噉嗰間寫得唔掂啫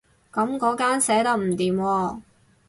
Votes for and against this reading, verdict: 2, 2, rejected